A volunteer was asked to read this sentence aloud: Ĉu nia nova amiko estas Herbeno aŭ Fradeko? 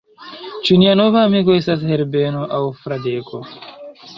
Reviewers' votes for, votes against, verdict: 0, 2, rejected